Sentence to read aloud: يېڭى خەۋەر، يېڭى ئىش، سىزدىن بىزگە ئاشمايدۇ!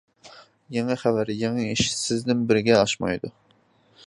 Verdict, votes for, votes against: accepted, 2, 0